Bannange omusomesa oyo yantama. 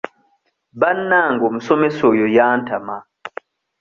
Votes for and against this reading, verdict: 2, 0, accepted